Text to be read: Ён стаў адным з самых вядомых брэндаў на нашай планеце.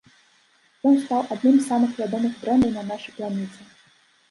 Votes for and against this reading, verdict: 0, 2, rejected